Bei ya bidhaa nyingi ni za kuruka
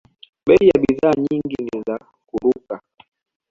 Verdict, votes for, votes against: accepted, 2, 0